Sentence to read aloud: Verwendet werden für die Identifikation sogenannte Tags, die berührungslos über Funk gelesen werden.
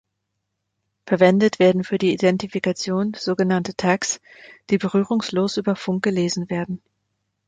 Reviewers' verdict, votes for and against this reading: accepted, 2, 0